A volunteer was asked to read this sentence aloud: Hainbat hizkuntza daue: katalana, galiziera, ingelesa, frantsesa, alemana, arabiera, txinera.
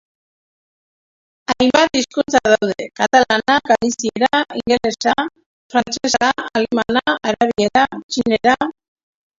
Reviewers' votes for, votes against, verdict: 0, 2, rejected